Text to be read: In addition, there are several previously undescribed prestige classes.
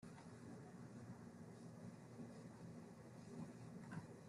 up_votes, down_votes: 0, 2